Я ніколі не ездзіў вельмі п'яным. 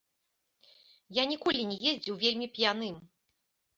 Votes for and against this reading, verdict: 1, 2, rejected